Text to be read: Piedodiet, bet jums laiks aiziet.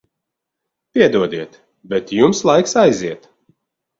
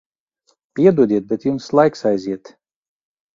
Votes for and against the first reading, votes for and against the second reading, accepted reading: 2, 0, 1, 2, first